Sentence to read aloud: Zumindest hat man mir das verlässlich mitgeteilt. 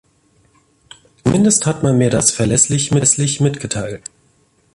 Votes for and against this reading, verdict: 0, 2, rejected